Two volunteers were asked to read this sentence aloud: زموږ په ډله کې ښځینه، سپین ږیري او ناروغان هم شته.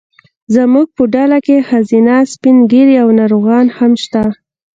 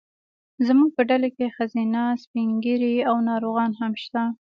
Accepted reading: first